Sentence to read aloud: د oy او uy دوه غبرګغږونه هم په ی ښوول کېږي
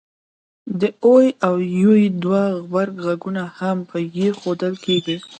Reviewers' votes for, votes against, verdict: 2, 0, accepted